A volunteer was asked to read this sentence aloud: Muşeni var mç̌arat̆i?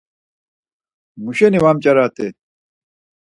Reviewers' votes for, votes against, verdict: 4, 0, accepted